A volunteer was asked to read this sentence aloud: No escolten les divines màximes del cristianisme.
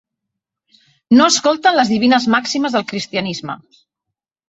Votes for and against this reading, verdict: 3, 0, accepted